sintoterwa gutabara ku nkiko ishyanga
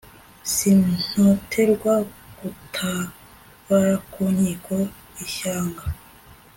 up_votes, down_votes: 2, 0